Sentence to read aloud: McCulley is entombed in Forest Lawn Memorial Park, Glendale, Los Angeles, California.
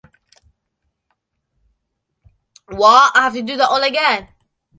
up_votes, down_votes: 0, 2